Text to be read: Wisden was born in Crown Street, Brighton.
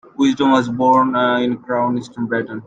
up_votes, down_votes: 0, 2